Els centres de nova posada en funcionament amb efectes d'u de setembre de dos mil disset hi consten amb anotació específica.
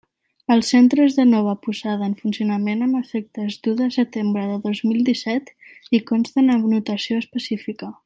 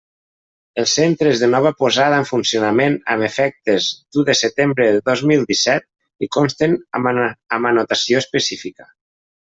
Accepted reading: first